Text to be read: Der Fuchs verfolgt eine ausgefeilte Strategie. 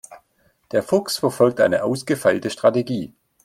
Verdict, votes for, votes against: accepted, 2, 0